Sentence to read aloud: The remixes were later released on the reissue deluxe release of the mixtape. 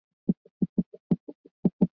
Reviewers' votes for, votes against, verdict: 0, 3, rejected